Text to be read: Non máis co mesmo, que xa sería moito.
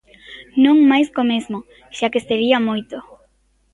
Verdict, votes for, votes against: rejected, 1, 2